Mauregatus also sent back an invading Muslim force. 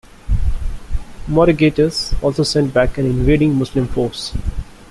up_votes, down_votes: 2, 1